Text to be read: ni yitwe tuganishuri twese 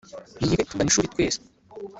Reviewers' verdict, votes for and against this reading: rejected, 1, 2